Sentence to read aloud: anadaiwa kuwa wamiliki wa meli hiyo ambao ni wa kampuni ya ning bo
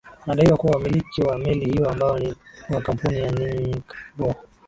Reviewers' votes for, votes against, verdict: 0, 2, rejected